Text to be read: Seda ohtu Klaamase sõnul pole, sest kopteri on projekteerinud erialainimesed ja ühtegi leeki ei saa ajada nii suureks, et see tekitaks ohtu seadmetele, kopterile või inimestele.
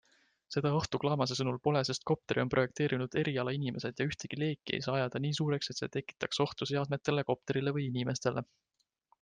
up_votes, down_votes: 4, 0